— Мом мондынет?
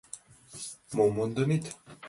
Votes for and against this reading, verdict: 2, 0, accepted